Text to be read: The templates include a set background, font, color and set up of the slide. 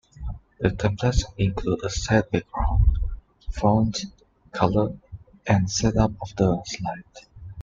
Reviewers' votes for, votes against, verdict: 2, 1, accepted